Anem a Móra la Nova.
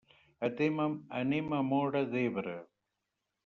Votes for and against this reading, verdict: 0, 2, rejected